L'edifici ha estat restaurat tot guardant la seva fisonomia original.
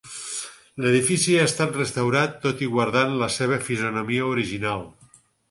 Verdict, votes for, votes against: rejected, 2, 4